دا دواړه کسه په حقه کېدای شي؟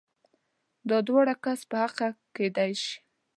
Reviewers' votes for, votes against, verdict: 1, 2, rejected